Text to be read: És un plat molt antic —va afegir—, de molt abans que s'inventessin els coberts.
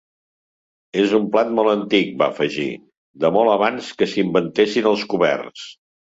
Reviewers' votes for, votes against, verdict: 3, 0, accepted